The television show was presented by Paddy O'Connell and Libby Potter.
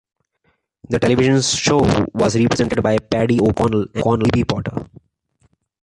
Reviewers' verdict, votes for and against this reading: rejected, 0, 2